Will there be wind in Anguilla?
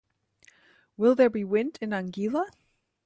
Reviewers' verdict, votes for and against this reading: accepted, 2, 0